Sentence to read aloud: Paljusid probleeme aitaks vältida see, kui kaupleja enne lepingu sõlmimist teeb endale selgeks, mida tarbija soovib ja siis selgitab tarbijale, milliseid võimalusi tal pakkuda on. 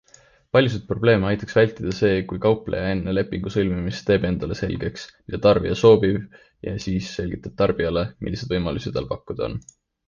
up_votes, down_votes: 2, 0